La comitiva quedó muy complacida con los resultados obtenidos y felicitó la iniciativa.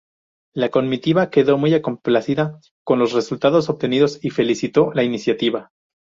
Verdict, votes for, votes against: rejected, 0, 2